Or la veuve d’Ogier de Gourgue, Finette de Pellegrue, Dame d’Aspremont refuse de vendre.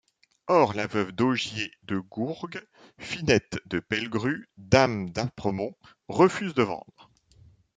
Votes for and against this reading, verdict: 1, 2, rejected